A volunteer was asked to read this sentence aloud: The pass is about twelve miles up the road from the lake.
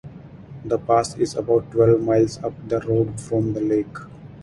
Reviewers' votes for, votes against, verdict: 4, 2, accepted